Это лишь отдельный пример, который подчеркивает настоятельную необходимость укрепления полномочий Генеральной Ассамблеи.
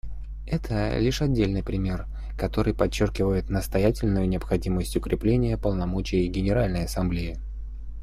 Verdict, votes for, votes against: accepted, 2, 0